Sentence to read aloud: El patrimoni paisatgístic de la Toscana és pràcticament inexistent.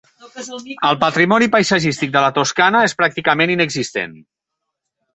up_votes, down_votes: 1, 2